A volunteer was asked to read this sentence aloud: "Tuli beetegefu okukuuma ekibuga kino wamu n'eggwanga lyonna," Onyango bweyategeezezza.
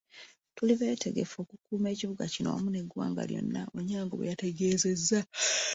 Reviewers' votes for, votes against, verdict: 2, 1, accepted